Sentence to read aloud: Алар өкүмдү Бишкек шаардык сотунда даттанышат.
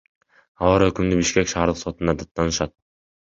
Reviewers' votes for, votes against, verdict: 1, 2, rejected